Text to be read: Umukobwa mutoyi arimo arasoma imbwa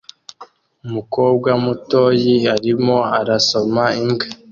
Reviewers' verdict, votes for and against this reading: accepted, 2, 0